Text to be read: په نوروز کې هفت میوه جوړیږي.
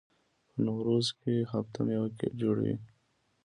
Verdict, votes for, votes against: accepted, 2, 0